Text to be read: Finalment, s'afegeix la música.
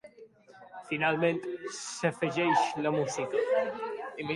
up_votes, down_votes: 1, 2